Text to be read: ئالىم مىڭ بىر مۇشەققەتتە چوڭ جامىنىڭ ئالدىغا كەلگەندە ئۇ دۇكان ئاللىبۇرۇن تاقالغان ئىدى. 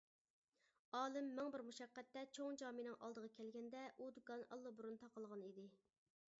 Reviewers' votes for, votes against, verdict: 2, 0, accepted